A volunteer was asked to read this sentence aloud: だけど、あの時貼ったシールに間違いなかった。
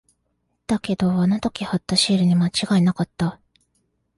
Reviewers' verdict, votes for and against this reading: accepted, 2, 0